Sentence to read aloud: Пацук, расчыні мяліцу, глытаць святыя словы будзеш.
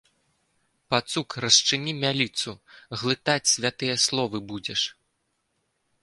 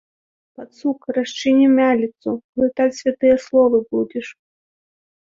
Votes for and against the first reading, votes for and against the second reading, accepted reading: 0, 2, 2, 0, second